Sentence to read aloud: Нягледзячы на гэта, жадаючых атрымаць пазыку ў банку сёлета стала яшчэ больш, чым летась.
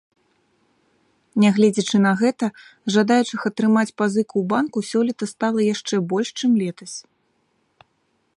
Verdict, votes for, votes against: accepted, 4, 0